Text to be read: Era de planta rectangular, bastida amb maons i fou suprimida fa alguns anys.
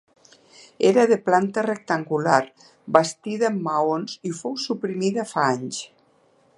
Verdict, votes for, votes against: rejected, 0, 2